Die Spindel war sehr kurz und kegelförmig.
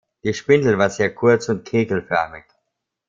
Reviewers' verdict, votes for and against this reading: rejected, 0, 2